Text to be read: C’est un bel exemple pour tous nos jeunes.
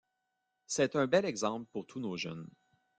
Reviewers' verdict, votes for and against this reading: accepted, 2, 0